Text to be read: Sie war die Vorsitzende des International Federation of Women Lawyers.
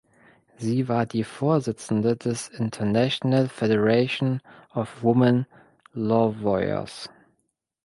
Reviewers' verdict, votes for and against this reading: rejected, 0, 2